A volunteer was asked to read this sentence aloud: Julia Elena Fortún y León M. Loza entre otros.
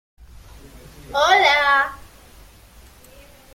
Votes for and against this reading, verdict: 0, 2, rejected